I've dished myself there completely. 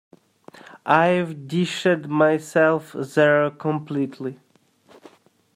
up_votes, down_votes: 1, 2